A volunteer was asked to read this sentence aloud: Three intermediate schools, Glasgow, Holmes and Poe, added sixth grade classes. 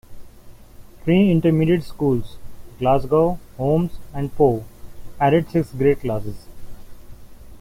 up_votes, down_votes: 2, 0